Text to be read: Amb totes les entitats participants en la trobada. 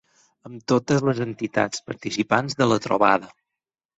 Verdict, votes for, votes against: rejected, 2, 6